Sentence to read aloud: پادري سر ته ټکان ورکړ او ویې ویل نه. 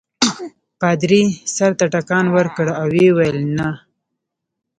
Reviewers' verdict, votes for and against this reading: rejected, 1, 2